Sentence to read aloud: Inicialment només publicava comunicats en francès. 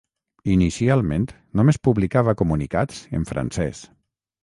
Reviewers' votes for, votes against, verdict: 6, 0, accepted